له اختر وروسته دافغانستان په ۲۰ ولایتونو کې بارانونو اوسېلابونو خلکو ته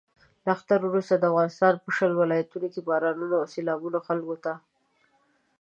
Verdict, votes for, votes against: rejected, 0, 2